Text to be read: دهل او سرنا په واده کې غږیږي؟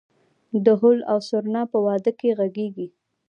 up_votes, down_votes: 2, 0